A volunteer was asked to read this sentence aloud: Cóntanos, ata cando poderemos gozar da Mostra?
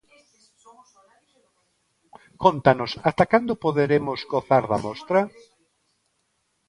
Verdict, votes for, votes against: rejected, 1, 2